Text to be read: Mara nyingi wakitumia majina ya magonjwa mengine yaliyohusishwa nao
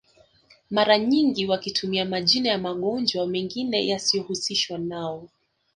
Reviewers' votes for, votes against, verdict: 1, 2, rejected